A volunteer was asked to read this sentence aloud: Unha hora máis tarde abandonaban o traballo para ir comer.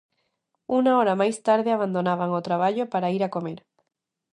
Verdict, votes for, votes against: rejected, 0, 2